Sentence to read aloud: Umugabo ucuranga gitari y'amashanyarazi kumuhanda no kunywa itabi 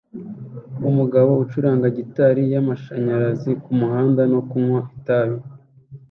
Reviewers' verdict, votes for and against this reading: accepted, 2, 0